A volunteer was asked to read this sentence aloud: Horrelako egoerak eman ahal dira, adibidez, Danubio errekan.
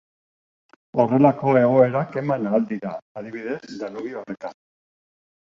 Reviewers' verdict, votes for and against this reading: accepted, 3, 0